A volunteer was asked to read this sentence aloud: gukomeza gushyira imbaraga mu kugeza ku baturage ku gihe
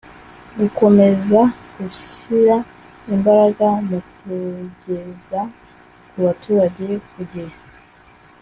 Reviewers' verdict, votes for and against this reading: accepted, 3, 0